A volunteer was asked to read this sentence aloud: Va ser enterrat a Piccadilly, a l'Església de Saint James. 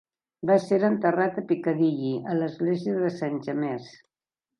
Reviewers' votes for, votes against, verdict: 0, 2, rejected